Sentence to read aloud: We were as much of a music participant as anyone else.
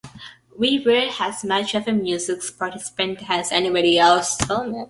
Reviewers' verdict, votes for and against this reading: rejected, 0, 2